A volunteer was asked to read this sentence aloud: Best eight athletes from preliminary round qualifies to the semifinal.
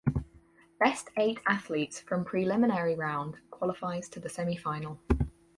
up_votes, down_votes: 2, 2